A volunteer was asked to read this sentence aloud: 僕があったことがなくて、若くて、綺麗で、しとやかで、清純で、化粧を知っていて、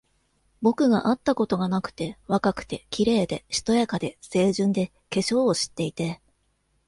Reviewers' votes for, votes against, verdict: 2, 0, accepted